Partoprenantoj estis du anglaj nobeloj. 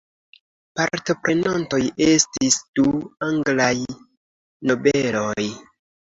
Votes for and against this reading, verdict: 2, 0, accepted